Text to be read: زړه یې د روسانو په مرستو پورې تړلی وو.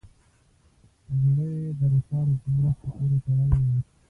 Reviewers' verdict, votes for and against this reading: rejected, 0, 2